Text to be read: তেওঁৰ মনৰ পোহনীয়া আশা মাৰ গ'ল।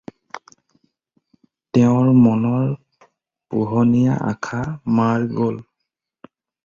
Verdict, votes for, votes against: rejected, 2, 2